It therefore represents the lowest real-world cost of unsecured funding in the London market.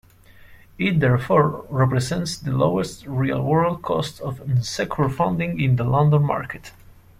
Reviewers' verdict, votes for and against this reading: rejected, 1, 2